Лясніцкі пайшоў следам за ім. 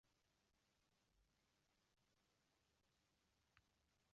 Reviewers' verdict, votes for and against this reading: rejected, 0, 2